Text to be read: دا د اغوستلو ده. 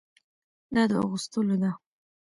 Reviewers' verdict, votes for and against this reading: rejected, 0, 2